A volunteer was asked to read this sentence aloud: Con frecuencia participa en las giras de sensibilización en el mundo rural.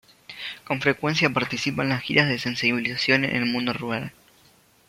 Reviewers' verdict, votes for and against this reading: accepted, 2, 0